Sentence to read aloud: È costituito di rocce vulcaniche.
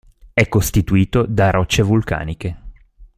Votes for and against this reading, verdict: 1, 2, rejected